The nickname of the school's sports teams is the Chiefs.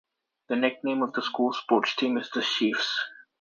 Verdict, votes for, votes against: rejected, 0, 2